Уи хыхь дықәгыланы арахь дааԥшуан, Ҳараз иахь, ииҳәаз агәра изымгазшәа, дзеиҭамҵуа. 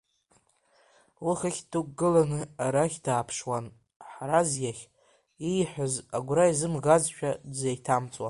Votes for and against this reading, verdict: 0, 2, rejected